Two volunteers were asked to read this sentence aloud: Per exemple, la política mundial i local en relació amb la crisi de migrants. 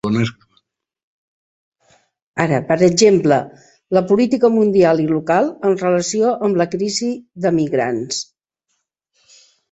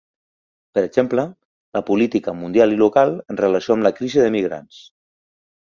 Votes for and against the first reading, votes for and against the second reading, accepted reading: 0, 4, 2, 0, second